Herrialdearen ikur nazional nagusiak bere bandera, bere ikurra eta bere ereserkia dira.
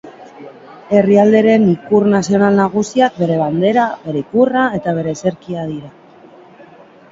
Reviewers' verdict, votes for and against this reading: rejected, 1, 2